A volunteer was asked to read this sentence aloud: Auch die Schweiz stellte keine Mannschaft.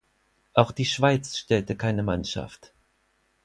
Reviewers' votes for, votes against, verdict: 4, 0, accepted